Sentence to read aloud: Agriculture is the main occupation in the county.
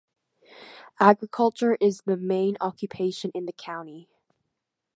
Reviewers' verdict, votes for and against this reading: accepted, 2, 0